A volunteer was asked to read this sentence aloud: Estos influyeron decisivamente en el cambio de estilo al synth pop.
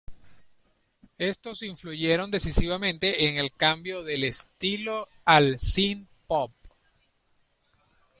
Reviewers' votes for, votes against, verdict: 1, 2, rejected